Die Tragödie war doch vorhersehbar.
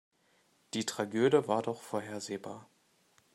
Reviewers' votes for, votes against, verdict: 0, 2, rejected